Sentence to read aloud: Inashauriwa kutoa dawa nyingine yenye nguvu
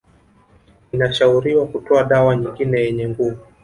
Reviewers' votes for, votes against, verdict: 2, 0, accepted